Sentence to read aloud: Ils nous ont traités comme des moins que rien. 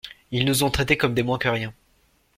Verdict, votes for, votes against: accepted, 2, 0